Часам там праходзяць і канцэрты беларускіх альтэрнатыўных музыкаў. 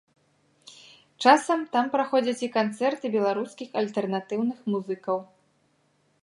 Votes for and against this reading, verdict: 2, 0, accepted